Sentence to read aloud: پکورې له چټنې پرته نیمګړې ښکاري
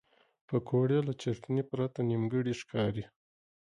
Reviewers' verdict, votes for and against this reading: accepted, 2, 0